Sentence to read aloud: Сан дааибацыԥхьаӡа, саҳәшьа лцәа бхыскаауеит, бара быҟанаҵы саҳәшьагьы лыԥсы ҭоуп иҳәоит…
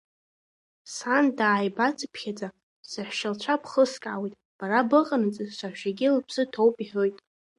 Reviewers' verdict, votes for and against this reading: rejected, 0, 2